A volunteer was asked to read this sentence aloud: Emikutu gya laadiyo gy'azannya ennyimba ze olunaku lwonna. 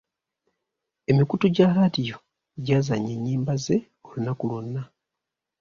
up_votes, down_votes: 2, 0